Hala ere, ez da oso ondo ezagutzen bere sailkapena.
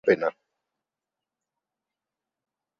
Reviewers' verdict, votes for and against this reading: rejected, 0, 8